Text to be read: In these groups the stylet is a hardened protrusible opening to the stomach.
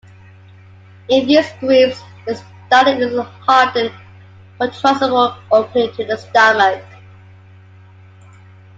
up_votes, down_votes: 1, 2